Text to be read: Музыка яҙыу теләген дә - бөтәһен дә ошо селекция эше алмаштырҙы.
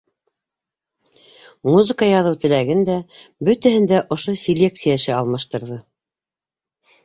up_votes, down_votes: 2, 0